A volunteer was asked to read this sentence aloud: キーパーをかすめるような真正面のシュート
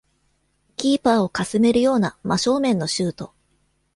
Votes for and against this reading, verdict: 2, 0, accepted